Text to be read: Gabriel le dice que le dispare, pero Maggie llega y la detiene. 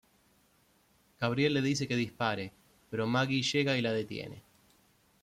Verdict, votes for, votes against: rejected, 0, 2